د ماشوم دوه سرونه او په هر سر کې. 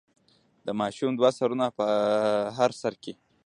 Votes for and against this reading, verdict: 0, 2, rejected